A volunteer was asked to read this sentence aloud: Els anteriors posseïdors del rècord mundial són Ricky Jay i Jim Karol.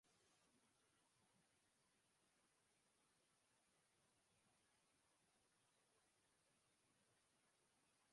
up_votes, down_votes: 0, 3